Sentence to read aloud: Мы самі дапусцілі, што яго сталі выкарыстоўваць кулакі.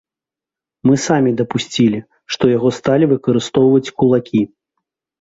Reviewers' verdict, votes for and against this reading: accepted, 2, 0